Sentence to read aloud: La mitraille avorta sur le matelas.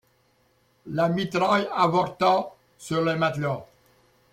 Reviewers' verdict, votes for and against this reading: accepted, 2, 0